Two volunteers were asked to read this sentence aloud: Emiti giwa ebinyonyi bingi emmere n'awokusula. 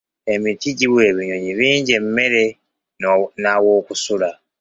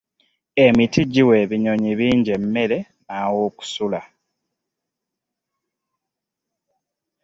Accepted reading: second